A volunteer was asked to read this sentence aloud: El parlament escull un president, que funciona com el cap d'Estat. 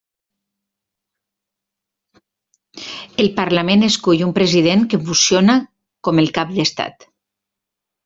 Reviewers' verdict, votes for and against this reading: rejected, 0, 2